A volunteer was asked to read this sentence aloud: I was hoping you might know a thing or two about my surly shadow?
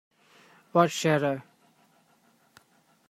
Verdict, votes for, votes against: rejected, 0, 2